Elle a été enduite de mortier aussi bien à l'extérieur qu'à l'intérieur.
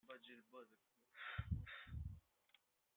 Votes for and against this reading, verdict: 0, 2, rejected